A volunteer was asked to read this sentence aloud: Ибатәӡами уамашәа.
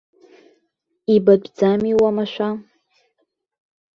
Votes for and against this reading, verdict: 1, 2, rejected